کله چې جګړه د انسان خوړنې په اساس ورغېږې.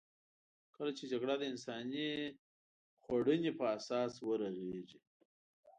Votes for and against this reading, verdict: 1, 2, rejected